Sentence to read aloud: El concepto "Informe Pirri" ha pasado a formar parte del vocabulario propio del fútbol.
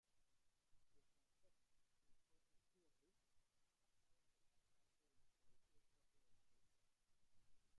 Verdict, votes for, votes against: rejected, 0, 2